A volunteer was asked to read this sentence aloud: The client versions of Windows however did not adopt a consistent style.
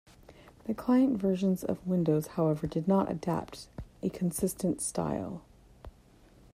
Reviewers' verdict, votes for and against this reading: rejected, 0, 2